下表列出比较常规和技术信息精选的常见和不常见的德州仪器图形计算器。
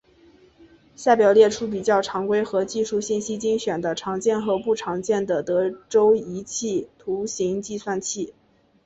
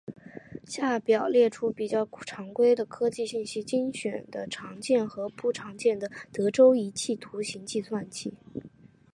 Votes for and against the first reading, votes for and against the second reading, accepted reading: 2, 1, 0, 2, first